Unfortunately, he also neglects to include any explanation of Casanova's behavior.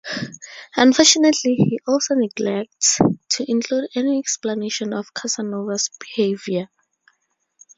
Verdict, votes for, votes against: accepted, 2, 0